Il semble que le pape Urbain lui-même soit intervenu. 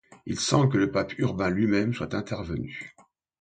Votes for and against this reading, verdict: 2, 0, accepted